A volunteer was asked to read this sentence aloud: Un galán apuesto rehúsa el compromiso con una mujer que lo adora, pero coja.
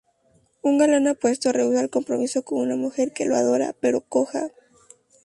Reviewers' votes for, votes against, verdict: 2, 0, accepted